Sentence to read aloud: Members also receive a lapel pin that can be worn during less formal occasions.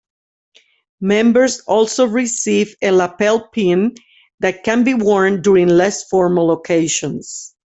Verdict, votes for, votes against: rejected, 1, 2